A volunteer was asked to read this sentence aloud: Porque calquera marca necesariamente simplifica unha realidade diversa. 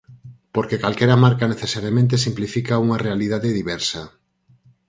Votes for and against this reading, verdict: 6, 0, accepted